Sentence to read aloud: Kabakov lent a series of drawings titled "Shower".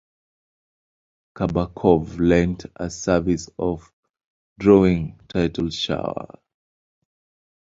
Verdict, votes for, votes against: accepted, 3, 2